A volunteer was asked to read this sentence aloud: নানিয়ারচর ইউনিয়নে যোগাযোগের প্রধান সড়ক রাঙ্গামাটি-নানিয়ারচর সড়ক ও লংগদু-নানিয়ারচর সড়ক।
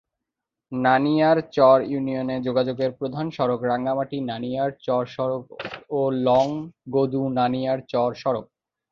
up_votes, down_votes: 2, 0